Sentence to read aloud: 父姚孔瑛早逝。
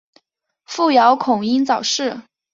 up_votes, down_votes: 2, 0